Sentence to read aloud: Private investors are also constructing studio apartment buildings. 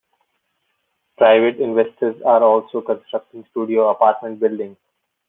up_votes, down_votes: 2, 0